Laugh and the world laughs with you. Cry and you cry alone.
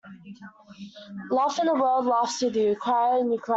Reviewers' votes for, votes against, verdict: 1, 2, rejected